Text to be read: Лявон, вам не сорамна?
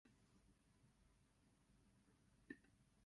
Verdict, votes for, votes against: rejected, 0, 3